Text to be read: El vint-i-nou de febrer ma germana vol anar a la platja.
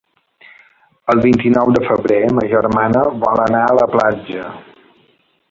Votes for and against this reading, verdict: 1, 2, rejected